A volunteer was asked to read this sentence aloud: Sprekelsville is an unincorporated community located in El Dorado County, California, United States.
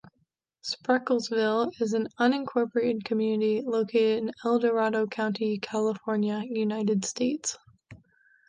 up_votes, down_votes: 3, 0